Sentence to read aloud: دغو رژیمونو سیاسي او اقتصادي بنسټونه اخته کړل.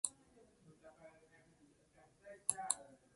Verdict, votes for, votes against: rejected, 0, 2